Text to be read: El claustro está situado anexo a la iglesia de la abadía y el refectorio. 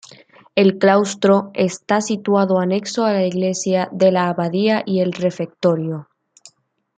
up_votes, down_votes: 2, 1